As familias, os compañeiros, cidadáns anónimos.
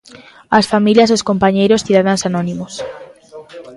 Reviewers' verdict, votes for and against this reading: accepted, 2, 0